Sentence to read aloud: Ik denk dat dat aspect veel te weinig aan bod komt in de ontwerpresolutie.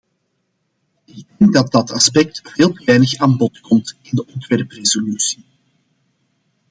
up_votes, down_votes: 0, 2